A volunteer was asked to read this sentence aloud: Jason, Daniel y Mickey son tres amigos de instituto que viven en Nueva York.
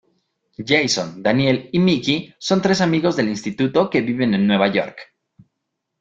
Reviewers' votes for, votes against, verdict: 0, 2, rejected